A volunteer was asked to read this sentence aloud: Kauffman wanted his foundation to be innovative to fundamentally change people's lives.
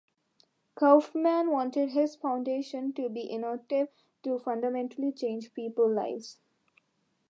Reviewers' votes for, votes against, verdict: 1, 2, rejected